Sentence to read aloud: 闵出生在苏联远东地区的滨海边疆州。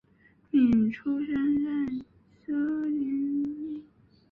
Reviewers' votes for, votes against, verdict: 1, 2, rejected